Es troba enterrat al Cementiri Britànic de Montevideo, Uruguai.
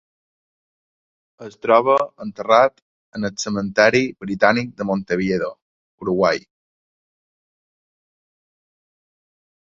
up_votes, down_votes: 0, 2